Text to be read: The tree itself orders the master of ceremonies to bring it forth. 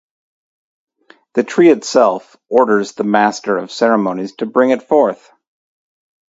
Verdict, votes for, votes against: accepted, 2, 0